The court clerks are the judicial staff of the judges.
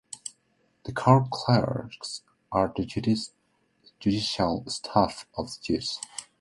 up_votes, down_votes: 0, 2